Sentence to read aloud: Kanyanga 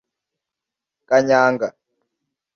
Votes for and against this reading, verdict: 2, 0, accepted